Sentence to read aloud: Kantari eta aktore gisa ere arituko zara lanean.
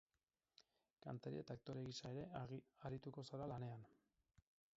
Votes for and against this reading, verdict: 2, 2, rejected